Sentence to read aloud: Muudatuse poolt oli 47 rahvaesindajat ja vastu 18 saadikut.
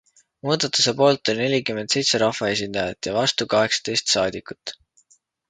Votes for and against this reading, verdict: 0, 2, rejected